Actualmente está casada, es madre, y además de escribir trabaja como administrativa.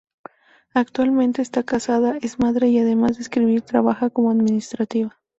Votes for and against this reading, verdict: 2, 0, accepted